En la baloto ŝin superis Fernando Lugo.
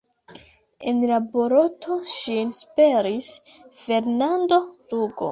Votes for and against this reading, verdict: 1, 2, rejected